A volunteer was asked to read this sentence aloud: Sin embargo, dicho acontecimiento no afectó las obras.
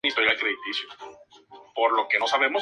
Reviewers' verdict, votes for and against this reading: rejected, 0, 4